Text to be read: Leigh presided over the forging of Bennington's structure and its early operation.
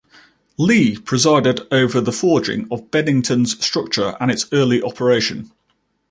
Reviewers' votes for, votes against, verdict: 2, 0, accepted